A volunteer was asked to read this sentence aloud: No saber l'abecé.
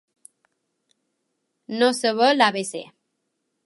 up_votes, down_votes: 3, 0